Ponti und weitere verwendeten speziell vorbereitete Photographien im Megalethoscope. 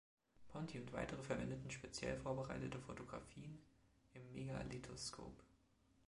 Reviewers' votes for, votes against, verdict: 2, 0, accepted